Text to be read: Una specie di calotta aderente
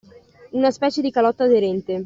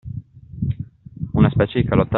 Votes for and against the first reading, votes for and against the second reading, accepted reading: 2, 0, 0, 2, first